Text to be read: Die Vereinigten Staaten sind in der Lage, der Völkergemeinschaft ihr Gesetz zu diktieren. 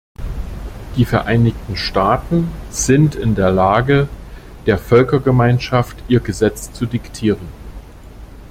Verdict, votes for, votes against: accepted, 2, 0